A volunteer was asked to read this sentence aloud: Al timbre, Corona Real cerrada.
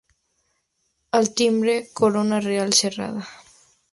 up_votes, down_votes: 2, 0